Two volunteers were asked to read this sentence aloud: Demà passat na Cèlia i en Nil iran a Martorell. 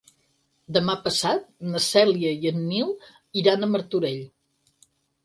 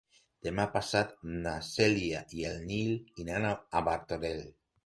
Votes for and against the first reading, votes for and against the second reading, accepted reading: 8, 0, 0, 2, first